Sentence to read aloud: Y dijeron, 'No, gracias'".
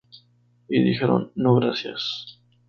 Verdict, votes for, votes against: rejected, 0, 2